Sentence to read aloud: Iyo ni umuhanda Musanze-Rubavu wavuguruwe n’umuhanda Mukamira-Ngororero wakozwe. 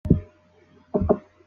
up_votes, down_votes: 0, 2